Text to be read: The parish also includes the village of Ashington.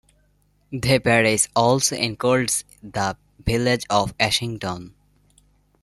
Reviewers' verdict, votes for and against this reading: accepted, 2, 0